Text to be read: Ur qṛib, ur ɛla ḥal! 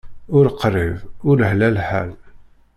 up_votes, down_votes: 1, 2